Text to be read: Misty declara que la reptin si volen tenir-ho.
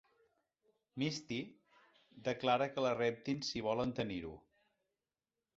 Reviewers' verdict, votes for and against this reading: accepted, 2, 0